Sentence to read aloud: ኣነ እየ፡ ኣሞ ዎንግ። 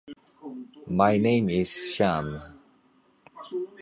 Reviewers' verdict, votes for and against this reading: rejected, 0, 2